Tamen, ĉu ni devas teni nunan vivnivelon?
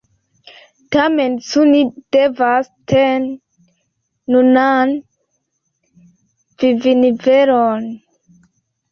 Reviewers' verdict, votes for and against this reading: rejected, 0, 2